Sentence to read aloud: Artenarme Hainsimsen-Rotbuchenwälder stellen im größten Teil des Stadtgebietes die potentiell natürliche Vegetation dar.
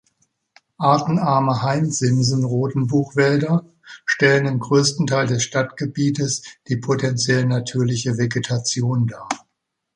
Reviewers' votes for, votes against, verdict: 1, 2, rejected